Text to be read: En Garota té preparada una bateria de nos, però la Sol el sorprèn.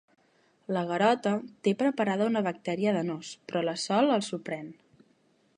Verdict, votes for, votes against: rejected, 1, 2